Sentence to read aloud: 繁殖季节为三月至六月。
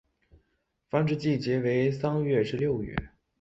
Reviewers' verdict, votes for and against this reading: accepted, 4, 0